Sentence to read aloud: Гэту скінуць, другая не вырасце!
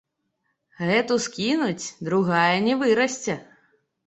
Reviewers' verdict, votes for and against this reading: accepted, 2, 0